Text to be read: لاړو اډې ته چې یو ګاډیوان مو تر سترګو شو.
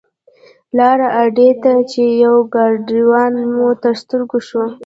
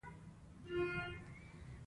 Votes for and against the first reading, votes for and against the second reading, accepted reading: 0, 2, 2, 1, second